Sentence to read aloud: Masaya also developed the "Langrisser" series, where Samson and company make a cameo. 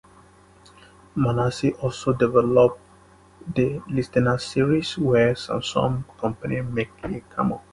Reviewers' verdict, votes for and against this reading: rejected, 0, 2